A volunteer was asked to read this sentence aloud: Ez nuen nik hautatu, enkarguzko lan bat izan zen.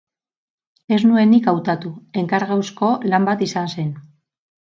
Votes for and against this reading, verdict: 0, 4, rejected